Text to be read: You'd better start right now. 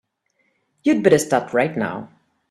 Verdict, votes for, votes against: accepted, 2, 0